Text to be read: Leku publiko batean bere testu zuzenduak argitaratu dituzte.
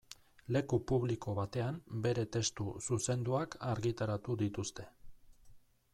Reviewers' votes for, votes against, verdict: 2, 0, accepted